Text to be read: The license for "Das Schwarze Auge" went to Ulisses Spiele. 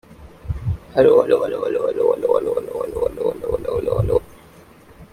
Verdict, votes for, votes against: rejected, 0, 2